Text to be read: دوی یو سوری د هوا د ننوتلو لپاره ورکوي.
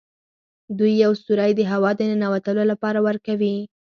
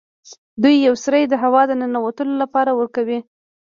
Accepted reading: first